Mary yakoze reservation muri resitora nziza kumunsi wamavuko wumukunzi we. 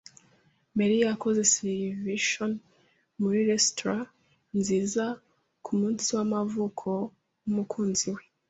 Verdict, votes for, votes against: rejected, 1, 3